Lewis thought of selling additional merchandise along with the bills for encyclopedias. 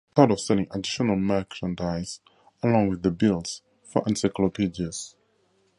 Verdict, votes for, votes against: rejected, 0, 4